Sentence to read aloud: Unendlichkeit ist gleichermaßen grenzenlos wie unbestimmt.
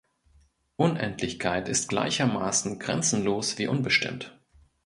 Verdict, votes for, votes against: accepted, 2, 0